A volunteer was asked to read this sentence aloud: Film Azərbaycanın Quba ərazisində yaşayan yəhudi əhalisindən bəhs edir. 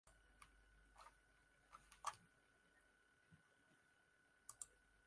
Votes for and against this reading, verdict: 0, 2, rejected